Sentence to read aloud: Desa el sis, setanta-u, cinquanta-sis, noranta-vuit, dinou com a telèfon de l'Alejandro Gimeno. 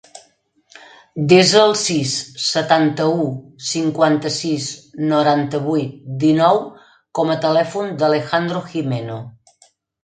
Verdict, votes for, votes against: rejected, 1, 2